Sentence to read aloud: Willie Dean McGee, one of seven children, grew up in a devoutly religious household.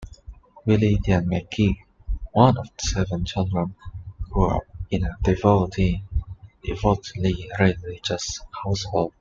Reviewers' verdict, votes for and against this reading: rejected, 1, 2